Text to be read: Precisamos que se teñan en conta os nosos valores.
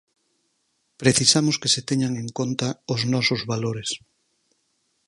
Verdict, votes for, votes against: accepted, 4, 0